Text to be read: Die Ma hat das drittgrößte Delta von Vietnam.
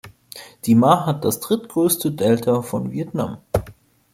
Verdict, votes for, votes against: accepted, 2, 0